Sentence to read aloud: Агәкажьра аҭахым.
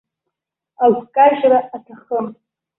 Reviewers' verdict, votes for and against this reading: rejected, 0, 2